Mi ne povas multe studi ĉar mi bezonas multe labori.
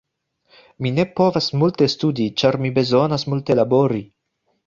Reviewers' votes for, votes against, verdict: 2, 1, accepted